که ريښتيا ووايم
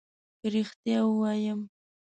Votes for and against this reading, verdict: 0, 2, rejected